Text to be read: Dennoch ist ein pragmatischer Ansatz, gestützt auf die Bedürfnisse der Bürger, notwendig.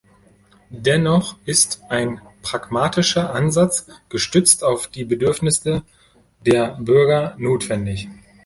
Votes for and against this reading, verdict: 0, 2, rejected